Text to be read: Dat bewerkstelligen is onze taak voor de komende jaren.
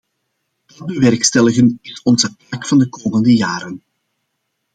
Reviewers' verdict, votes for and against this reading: rejected, 0, 2